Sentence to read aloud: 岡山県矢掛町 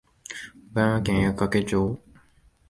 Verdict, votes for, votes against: rejected, 0, 2